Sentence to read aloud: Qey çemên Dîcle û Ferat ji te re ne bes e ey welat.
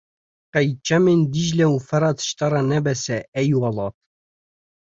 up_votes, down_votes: 2, 0